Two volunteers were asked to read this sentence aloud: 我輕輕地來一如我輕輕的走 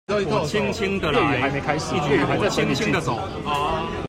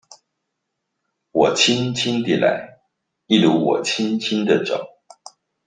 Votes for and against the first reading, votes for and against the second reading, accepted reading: 0, 2, 2, 0, second